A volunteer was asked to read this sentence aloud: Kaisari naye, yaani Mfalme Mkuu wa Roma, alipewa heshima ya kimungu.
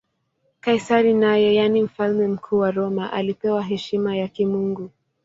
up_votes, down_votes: 2, 0